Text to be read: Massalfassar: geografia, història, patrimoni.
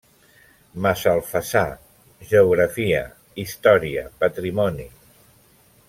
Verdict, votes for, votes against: accepted, 3, 0